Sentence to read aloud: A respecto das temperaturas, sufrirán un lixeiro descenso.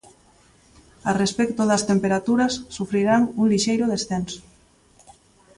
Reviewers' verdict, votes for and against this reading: accepted, 2, 0